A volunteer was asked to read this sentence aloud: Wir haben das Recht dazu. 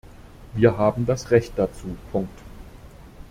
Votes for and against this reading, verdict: 0, 2, rejected